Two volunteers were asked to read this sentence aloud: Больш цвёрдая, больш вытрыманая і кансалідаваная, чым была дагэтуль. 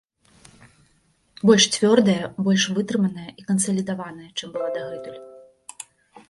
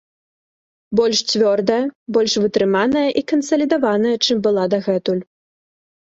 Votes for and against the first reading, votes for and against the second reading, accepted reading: 2, 0, 0, 2, first